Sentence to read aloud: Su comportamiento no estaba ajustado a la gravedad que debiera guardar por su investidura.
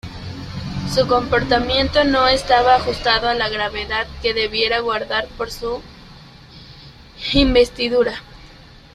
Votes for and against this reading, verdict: 2, 1, accepted